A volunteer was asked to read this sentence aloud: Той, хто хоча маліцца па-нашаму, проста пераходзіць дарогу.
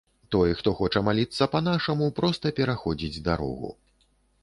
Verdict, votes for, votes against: accepted, 2, 0